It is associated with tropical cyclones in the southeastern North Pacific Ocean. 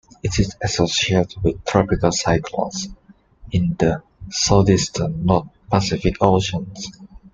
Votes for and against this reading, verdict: 2, 1, accepted